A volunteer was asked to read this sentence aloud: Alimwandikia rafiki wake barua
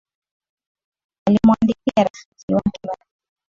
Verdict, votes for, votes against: accepted, 2, 1